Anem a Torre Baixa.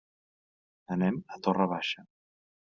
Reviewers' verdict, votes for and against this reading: accepted, 2, 0